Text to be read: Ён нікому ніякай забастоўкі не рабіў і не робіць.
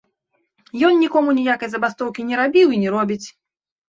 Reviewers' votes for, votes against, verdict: 2, 0, accepted